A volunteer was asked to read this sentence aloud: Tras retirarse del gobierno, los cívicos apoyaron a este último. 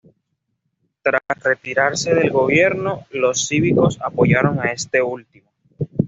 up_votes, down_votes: 2, 0